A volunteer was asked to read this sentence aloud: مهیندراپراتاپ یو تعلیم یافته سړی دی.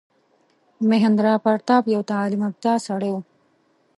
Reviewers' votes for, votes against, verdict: 1, 2, rejected